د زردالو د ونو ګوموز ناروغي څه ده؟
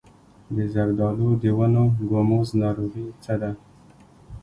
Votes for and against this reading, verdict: 2, 0, accepted